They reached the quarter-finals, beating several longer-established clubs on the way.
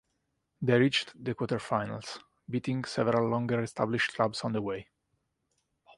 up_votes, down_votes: 2, 1